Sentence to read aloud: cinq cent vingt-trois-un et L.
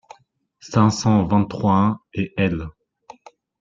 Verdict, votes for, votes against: accepted, 2, 1